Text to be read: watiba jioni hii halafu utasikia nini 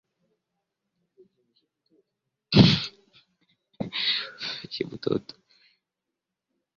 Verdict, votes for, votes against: rejected, 0, 2